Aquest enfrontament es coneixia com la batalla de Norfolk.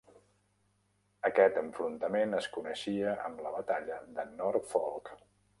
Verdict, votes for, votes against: rejected, 0, 2